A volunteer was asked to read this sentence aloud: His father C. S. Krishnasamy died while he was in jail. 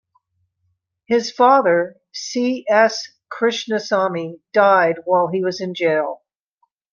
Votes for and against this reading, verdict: 2, 0, accepted